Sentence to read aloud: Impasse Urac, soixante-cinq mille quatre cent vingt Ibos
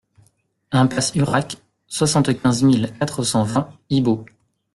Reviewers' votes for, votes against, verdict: 1, 2, rejected